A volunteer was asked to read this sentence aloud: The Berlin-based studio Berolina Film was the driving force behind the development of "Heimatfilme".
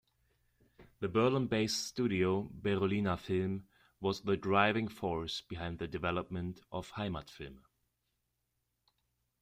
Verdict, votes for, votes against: accepted, 2, 0